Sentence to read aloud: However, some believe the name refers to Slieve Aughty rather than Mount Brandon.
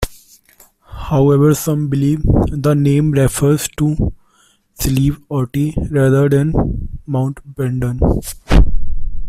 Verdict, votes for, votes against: accepted, 2, 0